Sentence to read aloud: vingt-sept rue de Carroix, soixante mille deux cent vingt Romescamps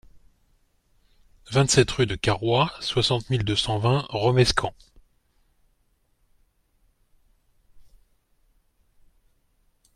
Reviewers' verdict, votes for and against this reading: accepted, 2, 0